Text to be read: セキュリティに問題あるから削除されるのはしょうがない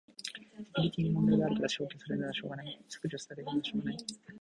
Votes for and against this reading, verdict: 0, 2, rejected